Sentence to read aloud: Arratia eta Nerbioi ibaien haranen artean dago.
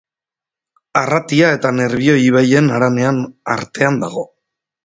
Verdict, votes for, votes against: rejected, 1, 2